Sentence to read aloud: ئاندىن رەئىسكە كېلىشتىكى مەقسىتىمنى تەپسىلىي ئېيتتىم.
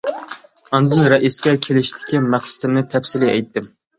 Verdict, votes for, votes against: accepted, 2, 0